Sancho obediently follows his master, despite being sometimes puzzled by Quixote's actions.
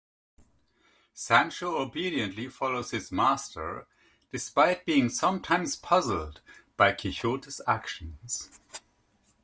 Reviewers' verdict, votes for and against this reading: accepted, 2, 0